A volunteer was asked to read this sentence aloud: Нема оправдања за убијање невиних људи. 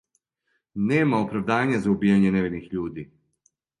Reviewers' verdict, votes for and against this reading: accepted, 2, 0